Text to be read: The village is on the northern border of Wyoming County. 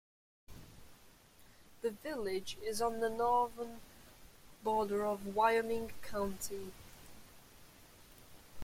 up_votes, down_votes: 2, 0